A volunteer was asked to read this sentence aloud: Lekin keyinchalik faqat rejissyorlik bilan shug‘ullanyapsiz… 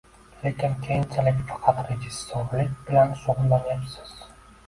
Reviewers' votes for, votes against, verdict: 0, 2, rejected